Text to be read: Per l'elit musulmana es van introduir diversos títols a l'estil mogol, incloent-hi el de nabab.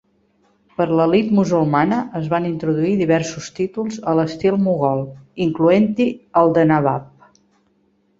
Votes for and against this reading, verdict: 2, 0, accepted